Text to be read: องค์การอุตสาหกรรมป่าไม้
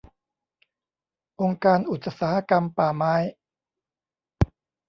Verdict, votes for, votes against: rejected, 1, 2